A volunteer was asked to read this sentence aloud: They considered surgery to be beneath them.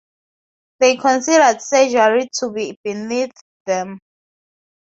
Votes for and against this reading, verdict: 0, 2, rejected